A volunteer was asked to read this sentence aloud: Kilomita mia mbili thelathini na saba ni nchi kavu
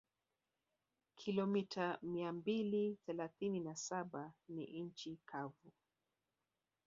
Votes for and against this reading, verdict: 3, 1, accepted